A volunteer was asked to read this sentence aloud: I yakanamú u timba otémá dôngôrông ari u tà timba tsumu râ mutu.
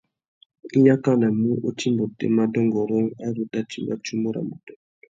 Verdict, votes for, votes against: accepted, 2, 0